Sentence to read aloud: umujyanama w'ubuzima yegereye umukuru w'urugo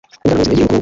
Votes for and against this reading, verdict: 1, 2, rejected